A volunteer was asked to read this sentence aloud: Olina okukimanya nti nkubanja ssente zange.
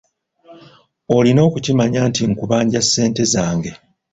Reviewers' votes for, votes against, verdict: 2, 0, accepted